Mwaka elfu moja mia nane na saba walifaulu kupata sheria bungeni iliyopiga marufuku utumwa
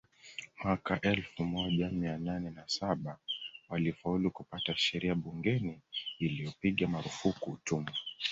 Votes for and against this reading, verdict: 2, 0, accepted